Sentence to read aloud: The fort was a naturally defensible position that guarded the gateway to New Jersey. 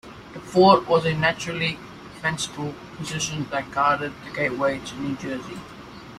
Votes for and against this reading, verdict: 1, 2, rejected